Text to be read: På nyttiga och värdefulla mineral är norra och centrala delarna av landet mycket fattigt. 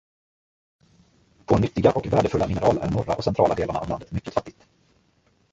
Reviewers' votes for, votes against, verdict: 1, 2, rejected